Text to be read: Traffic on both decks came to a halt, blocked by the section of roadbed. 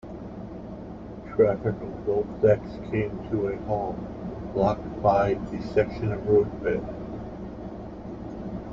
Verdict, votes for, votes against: rejected, 1, 2